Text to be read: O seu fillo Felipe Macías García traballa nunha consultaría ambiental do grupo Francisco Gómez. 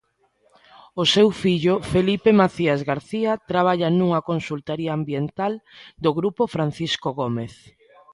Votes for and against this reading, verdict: 2, 0, accepted